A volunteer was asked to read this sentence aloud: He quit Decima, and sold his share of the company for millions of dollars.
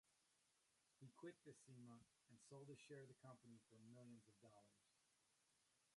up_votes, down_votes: 0, 2